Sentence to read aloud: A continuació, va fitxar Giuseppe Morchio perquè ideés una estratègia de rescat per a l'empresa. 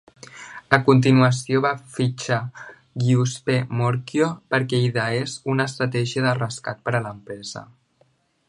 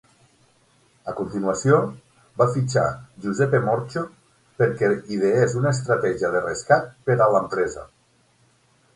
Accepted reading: second